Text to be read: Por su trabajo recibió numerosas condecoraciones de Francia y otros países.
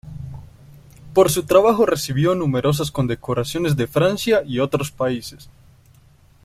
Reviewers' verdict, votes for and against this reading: accepted, 2, 0